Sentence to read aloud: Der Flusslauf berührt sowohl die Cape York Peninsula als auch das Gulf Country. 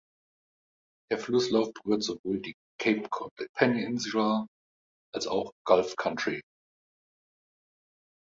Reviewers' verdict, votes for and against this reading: rejected, 0, 2